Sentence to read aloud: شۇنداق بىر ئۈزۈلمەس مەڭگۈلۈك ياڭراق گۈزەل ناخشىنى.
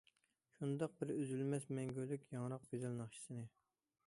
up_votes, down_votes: 0, 2